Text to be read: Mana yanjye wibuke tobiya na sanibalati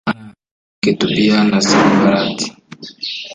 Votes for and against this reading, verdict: 1, 3, rejected